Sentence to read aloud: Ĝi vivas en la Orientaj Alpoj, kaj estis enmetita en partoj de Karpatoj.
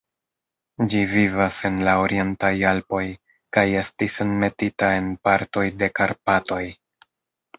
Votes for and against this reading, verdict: 1, 2, rejected